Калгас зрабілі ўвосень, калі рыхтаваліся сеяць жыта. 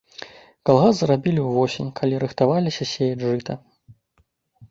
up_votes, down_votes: 2, 0